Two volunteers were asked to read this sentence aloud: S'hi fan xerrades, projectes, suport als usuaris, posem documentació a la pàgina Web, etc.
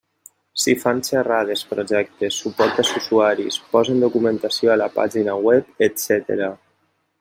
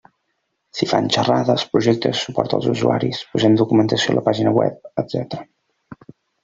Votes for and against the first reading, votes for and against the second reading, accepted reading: 1, 2, 2, 0, second